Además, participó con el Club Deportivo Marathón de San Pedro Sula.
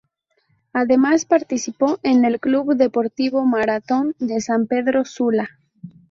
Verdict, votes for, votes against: rejected, 0, 2